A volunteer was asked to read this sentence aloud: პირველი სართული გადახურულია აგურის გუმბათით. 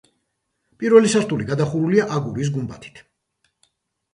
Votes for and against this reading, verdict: 1, 2, rejected